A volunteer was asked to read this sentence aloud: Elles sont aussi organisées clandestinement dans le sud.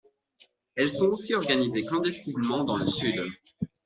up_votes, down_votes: 2, 0